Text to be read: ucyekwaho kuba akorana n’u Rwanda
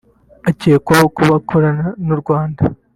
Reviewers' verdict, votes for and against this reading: rejected, 1, 2